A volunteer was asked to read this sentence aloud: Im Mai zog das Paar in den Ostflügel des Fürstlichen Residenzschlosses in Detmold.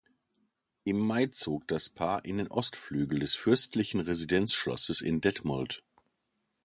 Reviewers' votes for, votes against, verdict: 2, 0, accepted